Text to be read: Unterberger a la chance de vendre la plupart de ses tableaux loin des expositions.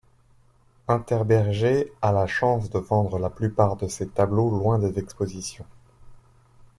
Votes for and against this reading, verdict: 2, 0, accepted